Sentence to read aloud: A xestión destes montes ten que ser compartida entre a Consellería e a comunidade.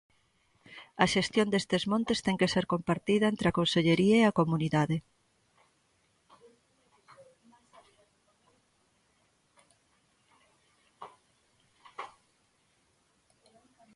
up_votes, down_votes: 1, 2